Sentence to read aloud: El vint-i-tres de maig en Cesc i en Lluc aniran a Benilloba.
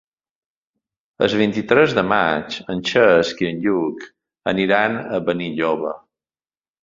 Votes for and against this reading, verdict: 3, 2, accepted